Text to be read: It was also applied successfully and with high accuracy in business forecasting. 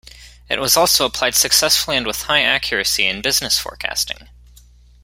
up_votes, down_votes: 2, 0